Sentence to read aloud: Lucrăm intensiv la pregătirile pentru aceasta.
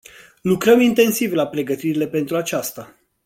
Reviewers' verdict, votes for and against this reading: accepted, 2, 0